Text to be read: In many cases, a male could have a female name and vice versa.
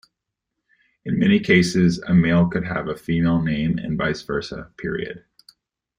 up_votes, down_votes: 2, 1